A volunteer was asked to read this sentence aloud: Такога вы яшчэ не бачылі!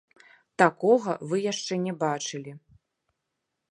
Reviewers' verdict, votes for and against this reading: rejected, 0, 2